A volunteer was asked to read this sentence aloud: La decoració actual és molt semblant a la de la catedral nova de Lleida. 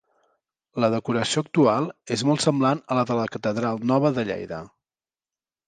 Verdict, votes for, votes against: accepted, 4, 0